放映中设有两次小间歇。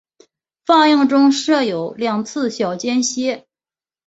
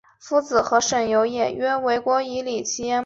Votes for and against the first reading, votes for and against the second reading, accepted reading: 3, 0, 0, 3, first